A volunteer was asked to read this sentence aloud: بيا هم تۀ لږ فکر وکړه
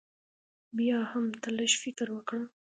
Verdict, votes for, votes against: accepted, 2, 0